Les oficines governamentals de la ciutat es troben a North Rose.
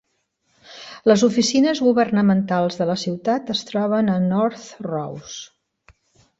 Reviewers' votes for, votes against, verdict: 2, 0, accepted